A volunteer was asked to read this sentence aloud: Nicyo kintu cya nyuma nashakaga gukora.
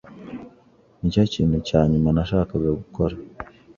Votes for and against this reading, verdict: 2, 0, accepted